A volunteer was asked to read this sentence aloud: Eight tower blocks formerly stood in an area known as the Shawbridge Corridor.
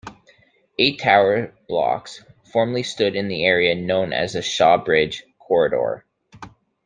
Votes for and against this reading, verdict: 1, 2, rejected